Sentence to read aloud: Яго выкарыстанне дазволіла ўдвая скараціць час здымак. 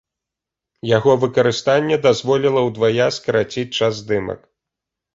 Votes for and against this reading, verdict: 2, 0, accepted